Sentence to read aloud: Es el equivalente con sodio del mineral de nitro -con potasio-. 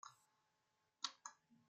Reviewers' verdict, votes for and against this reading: rejected, 0, 2